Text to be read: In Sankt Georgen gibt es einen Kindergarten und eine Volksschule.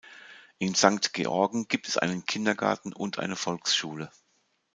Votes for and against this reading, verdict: 2, 0, accepted